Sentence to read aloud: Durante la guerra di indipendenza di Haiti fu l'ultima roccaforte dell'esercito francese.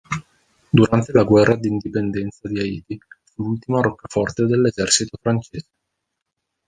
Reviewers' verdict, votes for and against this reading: accepted, 2, 1